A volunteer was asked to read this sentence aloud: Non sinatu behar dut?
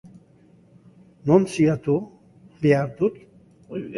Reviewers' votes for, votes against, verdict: 1, 2, rejected